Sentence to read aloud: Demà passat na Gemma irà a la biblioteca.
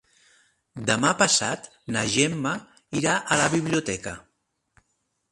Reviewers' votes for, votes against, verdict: 2, 0, accepted